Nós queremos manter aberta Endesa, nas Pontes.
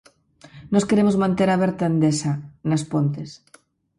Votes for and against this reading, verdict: 4, 0, accepted